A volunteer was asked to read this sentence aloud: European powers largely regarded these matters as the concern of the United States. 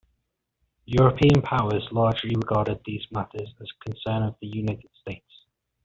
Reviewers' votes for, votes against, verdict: 2, 0, accepted